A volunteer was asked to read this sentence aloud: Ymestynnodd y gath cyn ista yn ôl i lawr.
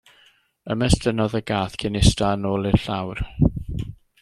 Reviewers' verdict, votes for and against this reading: rejected, 1, 2